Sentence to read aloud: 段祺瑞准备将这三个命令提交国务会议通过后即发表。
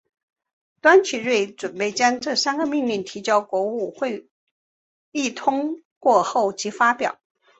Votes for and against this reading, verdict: 2, 0, accepted